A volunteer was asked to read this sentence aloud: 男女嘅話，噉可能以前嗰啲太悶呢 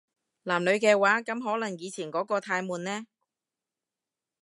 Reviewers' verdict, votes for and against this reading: rejected, 0, 2